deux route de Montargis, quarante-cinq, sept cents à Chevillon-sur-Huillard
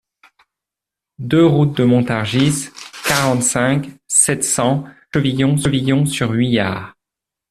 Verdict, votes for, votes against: rejected, 0, 2